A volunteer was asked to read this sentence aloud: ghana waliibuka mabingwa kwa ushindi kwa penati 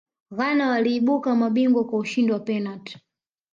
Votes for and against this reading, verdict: 2, 0, accepted